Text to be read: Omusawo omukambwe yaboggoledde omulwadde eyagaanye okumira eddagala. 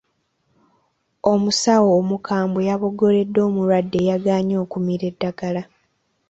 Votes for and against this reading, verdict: 2, 0, accepted